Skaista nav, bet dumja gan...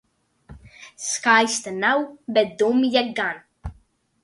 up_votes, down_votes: 2, 0